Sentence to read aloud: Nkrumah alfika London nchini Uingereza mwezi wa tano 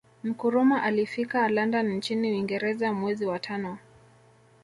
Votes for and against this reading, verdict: 2, 0, accepted